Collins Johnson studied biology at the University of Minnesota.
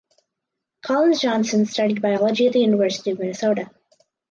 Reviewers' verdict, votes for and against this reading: accepted, 4, 0